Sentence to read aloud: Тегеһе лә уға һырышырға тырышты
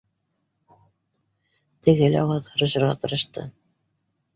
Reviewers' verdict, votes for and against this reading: rejected, 1, 2